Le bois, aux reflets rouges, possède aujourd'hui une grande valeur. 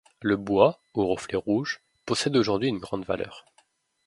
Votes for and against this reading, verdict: 2, 0, accepted